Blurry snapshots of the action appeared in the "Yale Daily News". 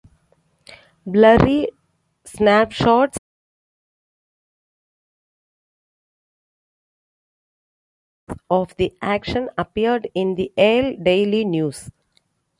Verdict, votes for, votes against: rejected, 1, 2